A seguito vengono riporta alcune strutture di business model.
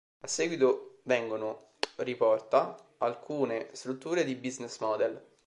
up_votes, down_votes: 2, 1